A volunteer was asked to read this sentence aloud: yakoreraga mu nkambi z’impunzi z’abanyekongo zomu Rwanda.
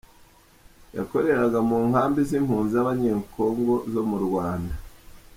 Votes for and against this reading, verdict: 3, 0, accepted